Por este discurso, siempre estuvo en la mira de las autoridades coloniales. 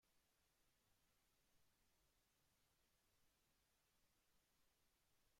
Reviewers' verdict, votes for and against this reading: rejected, 0, 2